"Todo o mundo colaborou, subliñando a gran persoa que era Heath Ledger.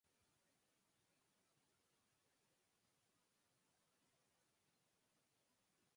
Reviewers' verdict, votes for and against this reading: rejected, 0, 4